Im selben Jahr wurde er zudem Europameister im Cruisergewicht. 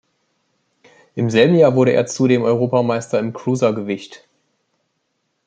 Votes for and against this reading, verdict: 2, 0, accepted